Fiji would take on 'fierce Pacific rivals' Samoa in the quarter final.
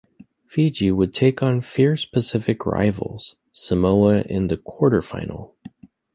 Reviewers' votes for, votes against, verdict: 3, 0, accepted